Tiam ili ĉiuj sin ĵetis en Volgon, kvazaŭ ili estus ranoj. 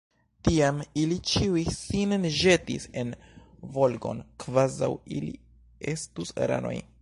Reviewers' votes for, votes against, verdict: 0, 2, rejected